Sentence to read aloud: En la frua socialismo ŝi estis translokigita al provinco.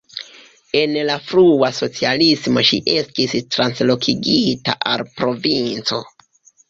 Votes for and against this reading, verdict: 0, 2, rejected